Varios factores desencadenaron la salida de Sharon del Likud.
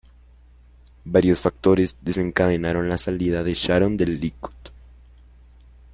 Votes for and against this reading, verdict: 2, 1, accepted